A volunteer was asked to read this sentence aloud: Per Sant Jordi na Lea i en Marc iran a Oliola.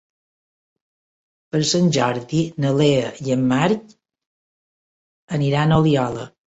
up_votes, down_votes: 0, 2